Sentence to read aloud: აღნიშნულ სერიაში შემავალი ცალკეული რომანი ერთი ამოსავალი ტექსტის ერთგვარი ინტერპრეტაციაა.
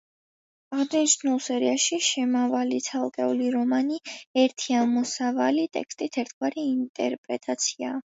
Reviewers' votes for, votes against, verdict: 2, 0, accepted